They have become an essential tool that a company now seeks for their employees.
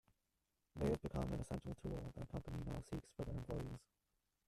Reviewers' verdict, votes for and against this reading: rejected, 0, 2